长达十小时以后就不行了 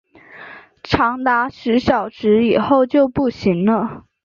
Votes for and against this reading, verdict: 6, 1, accepted